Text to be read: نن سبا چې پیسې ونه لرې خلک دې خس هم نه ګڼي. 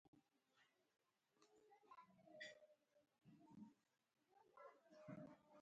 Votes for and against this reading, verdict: 1, 2, rejected